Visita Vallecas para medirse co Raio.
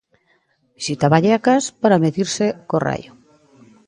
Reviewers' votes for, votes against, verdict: 0, 2, rejected